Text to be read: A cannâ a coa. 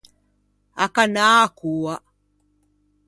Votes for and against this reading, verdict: 2, 0, accepted